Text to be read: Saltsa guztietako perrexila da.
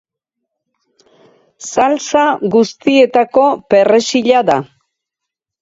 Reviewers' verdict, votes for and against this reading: rejected, 2, 4